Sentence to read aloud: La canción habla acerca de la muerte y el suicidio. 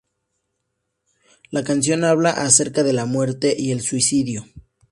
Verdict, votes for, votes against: accepted, 2, 0